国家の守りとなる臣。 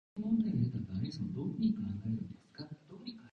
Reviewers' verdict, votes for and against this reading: rejected, 0, 2